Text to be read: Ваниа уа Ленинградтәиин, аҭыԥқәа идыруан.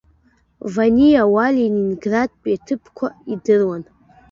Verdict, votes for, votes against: rejected, 1, 2